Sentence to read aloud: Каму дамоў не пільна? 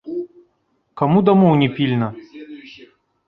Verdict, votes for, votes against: accepted, 2, 1